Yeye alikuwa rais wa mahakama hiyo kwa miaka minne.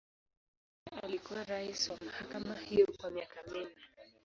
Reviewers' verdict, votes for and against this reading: accepted, 2, 0